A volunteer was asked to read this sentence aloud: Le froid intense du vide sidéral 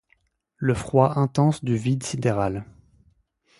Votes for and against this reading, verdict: 2, 0, accepted